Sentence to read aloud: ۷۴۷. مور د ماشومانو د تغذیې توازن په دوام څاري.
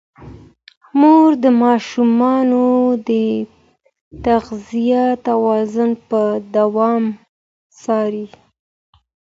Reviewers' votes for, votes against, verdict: 0, 2, rejected